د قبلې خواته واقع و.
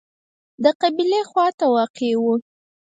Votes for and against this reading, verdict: 0, 4, rejected